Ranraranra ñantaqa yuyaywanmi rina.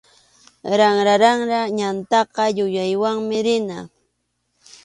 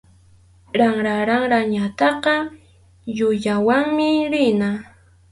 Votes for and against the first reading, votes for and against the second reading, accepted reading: 2, 0, 2, 2, first